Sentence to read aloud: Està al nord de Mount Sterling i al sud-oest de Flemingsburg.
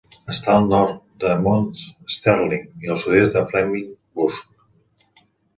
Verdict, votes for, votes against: accepted, 2, 0